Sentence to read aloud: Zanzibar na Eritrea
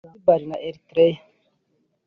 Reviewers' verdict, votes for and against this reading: accepted, 3, 0